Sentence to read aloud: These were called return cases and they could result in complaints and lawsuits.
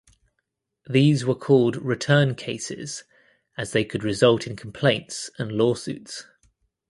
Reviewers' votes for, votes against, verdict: 0, 2, rejected